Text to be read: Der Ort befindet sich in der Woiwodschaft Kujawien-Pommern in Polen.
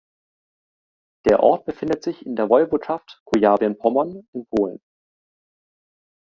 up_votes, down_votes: 2, 1